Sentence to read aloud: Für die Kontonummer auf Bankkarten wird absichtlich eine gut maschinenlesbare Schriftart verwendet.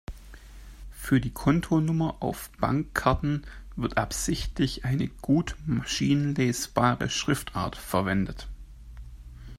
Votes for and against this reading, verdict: 3, 0, accepted